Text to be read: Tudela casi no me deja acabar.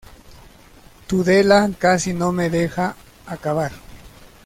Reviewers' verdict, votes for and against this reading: accepted, 2, 0